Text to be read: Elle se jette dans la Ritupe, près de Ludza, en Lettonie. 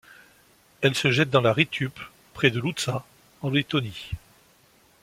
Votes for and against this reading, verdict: 2, 0, accepted